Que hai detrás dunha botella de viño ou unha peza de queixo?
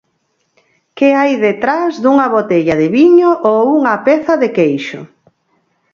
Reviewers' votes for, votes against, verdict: 4, 0, accepted